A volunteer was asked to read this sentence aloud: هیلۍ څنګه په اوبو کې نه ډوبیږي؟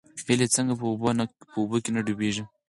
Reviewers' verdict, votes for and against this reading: rejected, 2, 4